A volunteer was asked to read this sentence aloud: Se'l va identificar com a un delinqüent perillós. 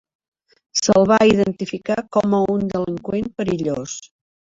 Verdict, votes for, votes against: rejected, 1, 2